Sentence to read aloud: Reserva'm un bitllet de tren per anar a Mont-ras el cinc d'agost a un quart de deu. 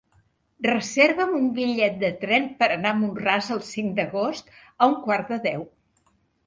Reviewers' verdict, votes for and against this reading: accepted, 3, 1